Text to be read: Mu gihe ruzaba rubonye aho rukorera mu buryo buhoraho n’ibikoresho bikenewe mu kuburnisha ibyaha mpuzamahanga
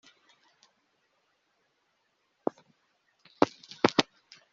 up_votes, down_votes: 1, 2